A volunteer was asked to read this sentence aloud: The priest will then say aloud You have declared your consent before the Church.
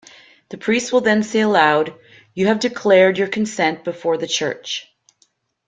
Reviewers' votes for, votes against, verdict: 2, 0, accepted